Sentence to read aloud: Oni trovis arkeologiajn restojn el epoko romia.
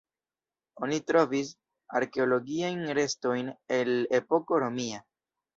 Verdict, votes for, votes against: accepted, 2, 1